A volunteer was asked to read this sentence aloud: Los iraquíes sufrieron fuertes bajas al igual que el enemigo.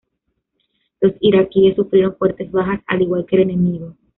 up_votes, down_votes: 2, 1